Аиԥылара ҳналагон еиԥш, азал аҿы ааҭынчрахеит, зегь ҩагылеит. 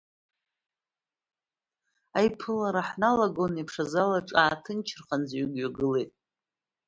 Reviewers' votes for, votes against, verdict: 1, 2, rejected